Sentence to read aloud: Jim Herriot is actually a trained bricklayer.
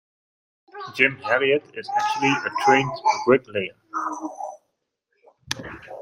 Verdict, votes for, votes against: rejected, 0, 2